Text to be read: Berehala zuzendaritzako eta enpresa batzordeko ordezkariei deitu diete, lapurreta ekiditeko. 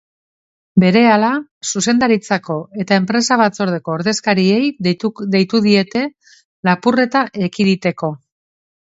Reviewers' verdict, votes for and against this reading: rejected, 0, 2